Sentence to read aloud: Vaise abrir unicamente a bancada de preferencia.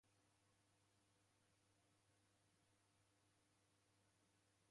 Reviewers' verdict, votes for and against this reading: rejected, 0, 3